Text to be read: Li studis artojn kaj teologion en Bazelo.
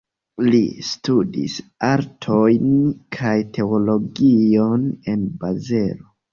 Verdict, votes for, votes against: accepted, 2, 0